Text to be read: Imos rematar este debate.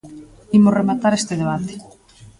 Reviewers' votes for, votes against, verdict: 2, 0, accepted